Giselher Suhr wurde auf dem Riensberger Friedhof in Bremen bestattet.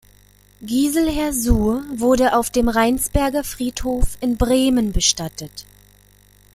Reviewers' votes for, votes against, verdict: 0, 2, rejected